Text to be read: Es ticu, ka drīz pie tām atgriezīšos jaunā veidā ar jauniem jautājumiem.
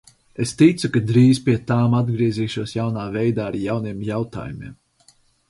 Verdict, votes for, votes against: accepted, 4, 0